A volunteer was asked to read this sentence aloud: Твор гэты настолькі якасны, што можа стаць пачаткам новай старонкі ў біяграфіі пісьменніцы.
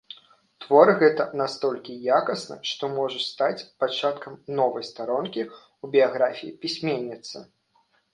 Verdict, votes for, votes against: rejected, 1, 2